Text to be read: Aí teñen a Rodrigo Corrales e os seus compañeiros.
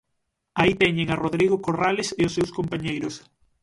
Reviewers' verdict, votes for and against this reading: accepted, 6, 0